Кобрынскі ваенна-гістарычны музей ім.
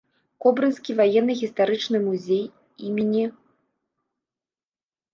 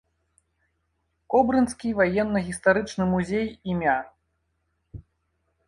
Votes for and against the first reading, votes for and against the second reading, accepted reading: 1, 2, 2, 1, second